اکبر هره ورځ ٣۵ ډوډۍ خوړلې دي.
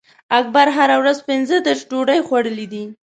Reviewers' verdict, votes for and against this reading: rejected, 0, 2